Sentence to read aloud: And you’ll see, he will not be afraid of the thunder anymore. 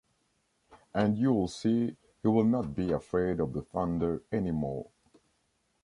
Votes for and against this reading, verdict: 2, 0, accepted